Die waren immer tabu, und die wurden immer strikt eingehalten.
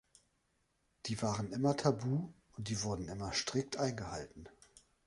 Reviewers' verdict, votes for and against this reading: accepted, 2, 0